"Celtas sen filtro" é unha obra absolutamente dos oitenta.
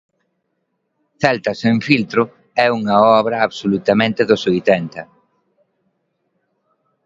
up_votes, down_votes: 2, 0